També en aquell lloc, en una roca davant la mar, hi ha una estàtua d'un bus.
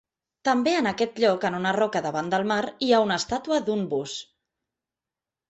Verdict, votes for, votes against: rejected, 0, 2